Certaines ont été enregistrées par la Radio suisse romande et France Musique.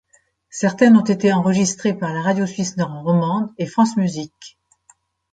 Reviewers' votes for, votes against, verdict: 1, 2, rejected